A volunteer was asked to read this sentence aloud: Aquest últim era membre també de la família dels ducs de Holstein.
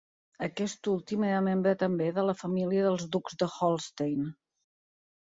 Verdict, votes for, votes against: accepted, 2, 0